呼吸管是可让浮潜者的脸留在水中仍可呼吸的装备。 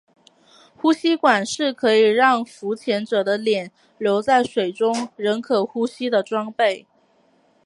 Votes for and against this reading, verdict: 2, 0, accepted